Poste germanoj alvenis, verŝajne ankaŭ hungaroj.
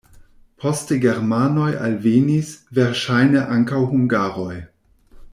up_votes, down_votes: 2, 1